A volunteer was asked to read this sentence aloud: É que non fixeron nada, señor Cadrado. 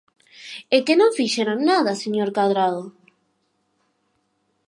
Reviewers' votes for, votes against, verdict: 6, 0, accepted